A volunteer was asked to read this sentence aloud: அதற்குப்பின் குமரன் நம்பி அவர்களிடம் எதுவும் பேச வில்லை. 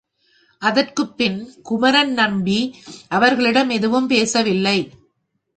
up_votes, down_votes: 2, 0